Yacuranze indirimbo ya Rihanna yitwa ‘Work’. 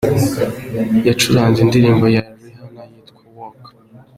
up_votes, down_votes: 2, 1